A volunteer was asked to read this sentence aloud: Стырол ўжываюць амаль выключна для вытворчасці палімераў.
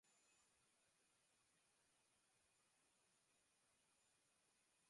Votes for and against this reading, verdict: 0, 2, rejected